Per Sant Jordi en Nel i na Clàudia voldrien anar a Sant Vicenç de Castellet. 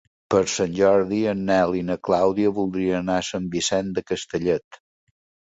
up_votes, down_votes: 1, 2